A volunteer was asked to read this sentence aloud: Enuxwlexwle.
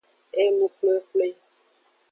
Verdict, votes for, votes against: accepted, 2, 0